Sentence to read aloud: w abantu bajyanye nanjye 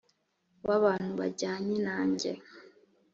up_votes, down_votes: 4, 0